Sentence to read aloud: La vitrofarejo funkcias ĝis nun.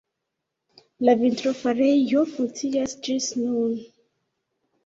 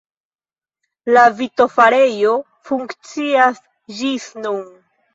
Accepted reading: first